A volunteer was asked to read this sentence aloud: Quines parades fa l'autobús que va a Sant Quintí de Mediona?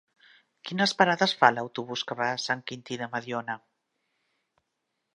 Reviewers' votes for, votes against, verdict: 3, 0, accepted